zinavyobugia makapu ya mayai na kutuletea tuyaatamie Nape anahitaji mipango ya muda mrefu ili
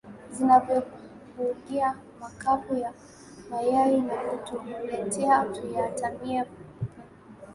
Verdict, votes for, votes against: rejected, 1, 2